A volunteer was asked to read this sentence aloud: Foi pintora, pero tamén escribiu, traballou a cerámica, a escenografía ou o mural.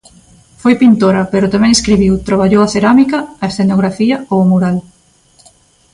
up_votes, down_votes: 2, 0